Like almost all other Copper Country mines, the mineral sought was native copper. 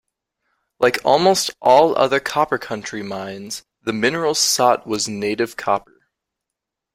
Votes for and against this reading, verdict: 2, 1, accepted